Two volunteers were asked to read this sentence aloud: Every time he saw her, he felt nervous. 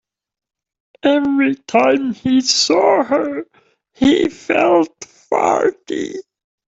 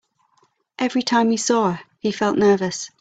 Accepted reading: second